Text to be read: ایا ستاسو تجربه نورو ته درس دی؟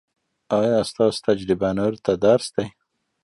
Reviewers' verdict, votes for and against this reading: accepted, 2, 0